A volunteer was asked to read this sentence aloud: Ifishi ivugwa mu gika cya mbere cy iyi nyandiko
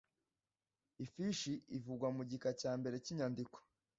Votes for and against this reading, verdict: 1, 2, rejected